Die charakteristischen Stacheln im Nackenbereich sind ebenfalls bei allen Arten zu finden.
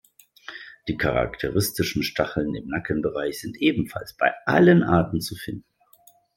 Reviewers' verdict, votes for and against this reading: rejected, 1, 2